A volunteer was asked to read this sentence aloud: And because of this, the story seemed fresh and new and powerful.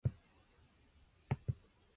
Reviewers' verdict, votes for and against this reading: rejected, 0, 2